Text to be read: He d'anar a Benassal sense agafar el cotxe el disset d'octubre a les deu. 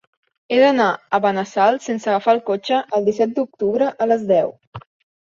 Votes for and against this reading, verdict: 3, 0, accepted